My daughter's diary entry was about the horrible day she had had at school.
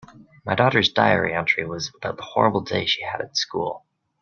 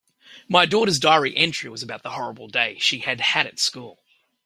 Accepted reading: second